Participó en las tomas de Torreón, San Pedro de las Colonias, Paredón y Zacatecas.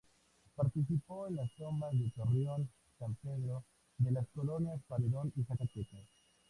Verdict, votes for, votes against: accepted, 2, 0